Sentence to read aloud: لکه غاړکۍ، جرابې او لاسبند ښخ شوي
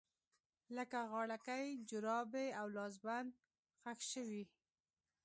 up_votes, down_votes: 2, 0